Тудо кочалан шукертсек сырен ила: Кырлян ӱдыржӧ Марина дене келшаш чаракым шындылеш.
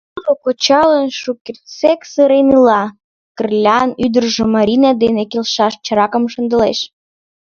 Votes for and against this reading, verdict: 1, 2, rejected